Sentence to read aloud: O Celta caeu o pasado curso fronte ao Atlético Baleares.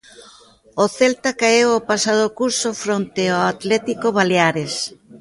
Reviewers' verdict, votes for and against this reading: rejected, 1, 2